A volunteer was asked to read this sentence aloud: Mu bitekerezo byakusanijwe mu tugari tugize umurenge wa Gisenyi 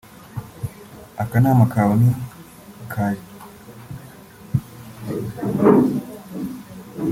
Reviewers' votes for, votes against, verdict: 0, 2, rejected